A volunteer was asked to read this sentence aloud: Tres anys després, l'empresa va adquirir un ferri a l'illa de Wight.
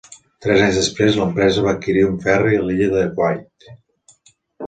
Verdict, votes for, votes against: accepted, 2, 1